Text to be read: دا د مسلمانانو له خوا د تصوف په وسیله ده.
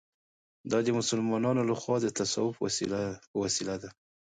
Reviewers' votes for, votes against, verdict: 1, 2, rejected